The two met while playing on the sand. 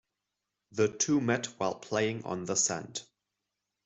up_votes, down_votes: 2, 0